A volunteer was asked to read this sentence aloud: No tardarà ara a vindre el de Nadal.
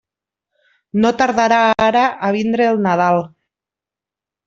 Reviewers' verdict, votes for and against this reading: rejected, 0, 2